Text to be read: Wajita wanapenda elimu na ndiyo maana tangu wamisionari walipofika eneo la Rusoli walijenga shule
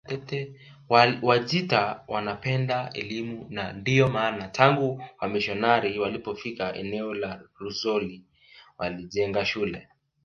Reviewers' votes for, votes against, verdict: 1, 2, rejected